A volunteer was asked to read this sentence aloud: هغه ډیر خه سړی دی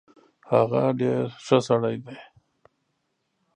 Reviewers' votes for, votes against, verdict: 1, 2, rejected